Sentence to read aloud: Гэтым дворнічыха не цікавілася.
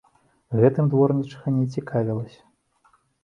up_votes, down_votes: 2, 0